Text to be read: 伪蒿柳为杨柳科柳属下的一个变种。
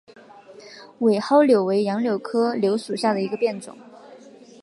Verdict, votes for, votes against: accepted, 2, 0